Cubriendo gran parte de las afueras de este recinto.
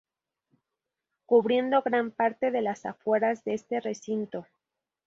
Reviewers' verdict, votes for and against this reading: accepted, 2, 0